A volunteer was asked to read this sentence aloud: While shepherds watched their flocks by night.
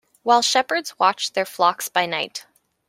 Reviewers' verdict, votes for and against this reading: accepted, 2, 0